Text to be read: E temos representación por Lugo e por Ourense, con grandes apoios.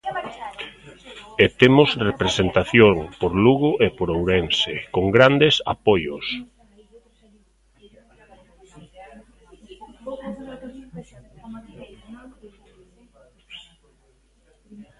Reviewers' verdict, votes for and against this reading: rejected, 1, 2